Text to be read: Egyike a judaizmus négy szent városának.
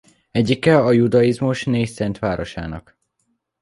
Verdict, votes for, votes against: accepted, 2, 0